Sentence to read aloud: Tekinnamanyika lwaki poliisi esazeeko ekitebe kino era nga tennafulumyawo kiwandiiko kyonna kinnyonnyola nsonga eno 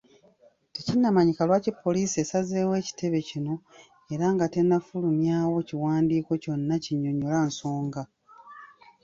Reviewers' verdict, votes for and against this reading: rejected, 0, 2